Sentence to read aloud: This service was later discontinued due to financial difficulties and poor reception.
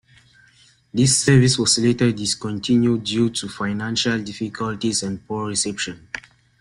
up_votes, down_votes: 2, 0